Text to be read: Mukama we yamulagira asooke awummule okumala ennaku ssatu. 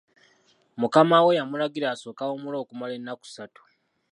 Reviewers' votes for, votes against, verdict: 2, 1, accepted